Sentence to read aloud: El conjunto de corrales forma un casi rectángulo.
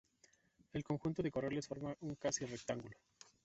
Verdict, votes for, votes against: rejected, 1, 2